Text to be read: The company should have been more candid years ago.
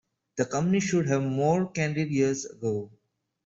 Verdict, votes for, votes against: rejected, 1, 2